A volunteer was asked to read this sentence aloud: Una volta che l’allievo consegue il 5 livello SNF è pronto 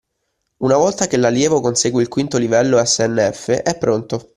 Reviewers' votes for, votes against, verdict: 0, 2, rejected